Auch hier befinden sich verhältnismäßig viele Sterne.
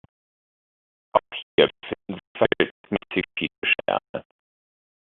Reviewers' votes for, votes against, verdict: 0, 2, rejected